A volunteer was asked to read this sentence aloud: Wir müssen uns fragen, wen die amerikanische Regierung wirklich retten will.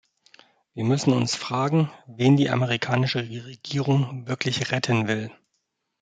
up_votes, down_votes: 2, 0